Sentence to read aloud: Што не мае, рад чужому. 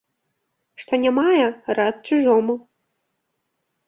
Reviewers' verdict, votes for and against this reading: accepted, 2, 0